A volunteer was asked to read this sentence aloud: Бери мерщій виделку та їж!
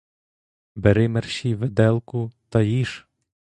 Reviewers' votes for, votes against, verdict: 2, 0, accepted